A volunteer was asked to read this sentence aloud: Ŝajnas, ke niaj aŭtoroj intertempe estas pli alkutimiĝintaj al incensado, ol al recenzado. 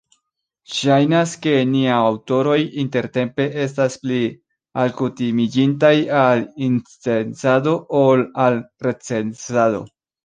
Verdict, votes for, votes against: rejected, 1, 2